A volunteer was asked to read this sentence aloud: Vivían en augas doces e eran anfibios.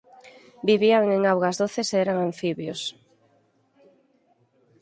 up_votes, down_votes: 4, 0